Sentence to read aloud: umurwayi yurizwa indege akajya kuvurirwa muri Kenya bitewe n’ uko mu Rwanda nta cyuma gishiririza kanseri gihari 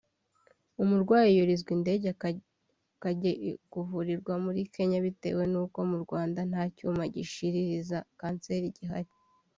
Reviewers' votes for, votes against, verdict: 1, 2, rejected